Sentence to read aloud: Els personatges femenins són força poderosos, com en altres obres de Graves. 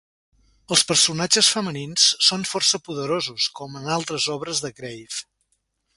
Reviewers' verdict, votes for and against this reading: accepted, 2, 0